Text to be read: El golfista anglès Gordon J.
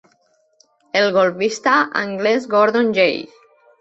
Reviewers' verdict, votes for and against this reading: rejected, 0, 2